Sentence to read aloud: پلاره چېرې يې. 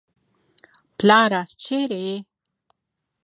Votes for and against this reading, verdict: 1, 2, rejected